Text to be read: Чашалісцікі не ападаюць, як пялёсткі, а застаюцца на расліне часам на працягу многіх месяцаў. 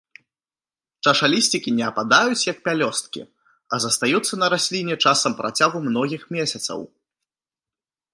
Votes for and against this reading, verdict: 2, 0, accepted